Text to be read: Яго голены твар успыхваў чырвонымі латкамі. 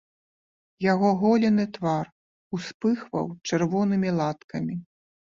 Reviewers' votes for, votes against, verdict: 2, 0, accepted